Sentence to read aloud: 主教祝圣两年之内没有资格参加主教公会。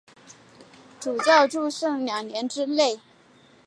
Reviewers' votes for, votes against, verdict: 0, 3, rejected